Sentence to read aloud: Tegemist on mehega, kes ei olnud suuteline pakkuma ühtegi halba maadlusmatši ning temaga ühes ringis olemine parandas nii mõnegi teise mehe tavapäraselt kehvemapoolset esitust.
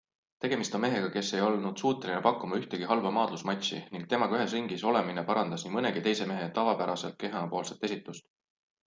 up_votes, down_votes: 3, 0